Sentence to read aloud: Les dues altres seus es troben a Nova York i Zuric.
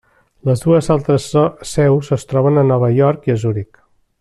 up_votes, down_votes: 1, 2